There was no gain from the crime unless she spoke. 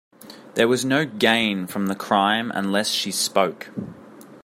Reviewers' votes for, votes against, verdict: 2, 0, accepted